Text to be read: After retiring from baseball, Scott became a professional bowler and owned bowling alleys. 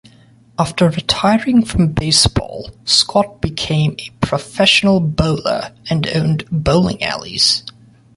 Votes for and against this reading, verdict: 2, 0, accepted